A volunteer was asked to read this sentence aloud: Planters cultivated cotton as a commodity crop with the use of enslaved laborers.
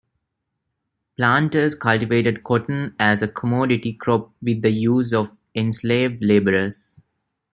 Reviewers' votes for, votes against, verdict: 1, 2, rejected